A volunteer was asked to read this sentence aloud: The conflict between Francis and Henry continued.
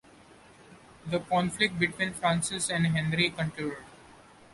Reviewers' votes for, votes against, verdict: 2, 0, accepted